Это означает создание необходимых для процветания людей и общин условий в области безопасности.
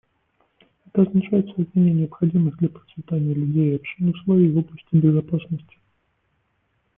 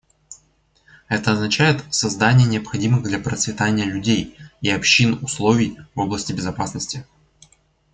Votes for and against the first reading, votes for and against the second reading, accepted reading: 0, 2, 2, 1, second